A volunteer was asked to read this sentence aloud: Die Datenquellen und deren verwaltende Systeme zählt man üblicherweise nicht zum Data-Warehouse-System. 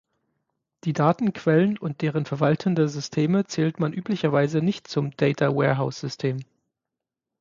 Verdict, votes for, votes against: accepted, 6, 0